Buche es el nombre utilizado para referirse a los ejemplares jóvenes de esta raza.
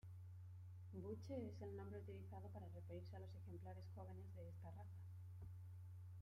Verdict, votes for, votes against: rejected, 1, 2